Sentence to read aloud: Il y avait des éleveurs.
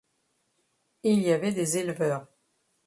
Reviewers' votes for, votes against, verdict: 2, 0, accepted